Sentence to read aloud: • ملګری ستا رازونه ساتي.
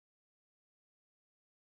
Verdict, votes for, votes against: rejected, 1, 2